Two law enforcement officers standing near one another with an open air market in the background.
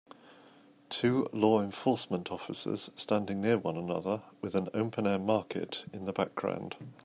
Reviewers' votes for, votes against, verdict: 2, 0, accepted